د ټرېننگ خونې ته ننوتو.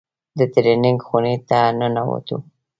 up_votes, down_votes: 2, 0